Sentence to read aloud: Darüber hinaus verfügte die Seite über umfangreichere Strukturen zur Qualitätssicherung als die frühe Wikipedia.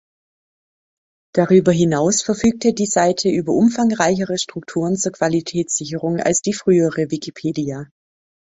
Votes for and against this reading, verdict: 3, 4, rejected